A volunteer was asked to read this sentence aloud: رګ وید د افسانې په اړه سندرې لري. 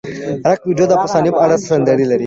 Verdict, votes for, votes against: rejected, 1, 2